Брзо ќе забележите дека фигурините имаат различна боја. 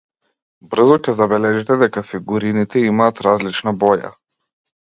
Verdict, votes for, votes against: accepted, 2, 0